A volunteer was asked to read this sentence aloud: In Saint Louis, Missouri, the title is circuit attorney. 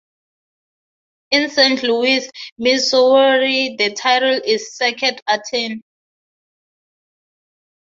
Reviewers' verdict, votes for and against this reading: rejected, 0, 6